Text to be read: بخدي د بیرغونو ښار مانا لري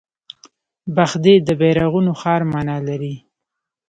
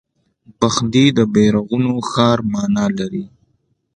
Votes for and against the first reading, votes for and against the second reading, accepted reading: 1, 2, 2, 0, second